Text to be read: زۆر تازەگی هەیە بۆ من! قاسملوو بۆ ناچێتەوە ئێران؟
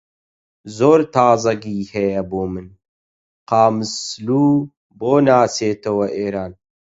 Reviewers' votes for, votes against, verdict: 0, 8, rejected